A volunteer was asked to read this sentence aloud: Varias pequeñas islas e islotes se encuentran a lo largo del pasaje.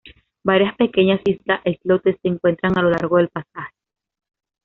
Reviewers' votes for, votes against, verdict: 2, 0, accepted